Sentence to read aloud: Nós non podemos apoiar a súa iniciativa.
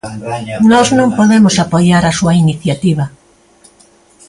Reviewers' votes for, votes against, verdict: 2, 1, accepted